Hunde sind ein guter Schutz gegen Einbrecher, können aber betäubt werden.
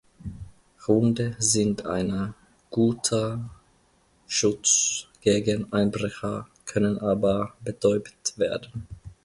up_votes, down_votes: 0, 2